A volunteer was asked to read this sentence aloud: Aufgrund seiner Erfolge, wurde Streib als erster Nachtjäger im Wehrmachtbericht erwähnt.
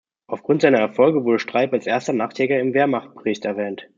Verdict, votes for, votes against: accepted, 2, 0